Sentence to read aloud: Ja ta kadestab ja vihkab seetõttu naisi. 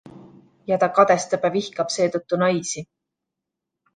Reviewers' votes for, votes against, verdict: 2, 0, accepted